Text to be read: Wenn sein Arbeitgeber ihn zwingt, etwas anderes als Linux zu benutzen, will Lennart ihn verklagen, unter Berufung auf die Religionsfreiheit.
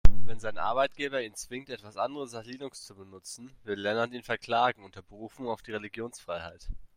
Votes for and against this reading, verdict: 2, 0, accepted